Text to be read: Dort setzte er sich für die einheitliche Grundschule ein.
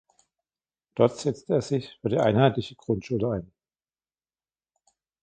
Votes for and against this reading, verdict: 1, 2, rejected